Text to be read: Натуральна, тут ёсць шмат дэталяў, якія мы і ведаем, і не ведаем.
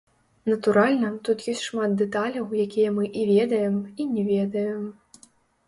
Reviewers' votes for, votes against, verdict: 0, 2, rejected